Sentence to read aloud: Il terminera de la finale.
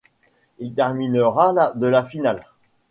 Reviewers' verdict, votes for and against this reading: rejected, 1, 2